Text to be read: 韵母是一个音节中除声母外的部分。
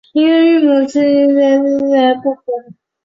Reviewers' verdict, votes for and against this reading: rejected, 0, 3